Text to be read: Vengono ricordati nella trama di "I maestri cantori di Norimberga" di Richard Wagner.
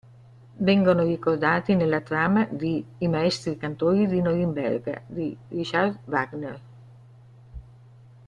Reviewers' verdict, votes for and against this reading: rejected, 0, 2